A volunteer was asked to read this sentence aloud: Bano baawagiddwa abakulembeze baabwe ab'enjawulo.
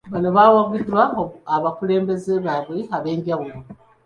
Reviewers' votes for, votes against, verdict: 2, 0, accepted